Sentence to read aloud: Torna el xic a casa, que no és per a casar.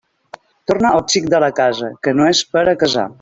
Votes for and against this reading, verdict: 0, 2, rejected